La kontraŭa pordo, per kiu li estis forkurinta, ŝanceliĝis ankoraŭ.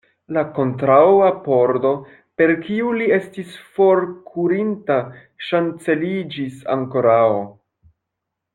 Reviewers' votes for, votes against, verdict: 1, 2, rejected